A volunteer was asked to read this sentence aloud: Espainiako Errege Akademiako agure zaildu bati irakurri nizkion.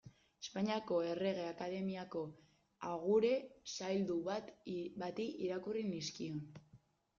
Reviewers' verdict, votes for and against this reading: rejected, 1, 2